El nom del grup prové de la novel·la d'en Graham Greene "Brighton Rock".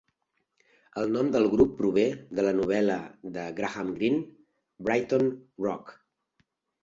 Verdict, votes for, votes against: rejected, 0, 2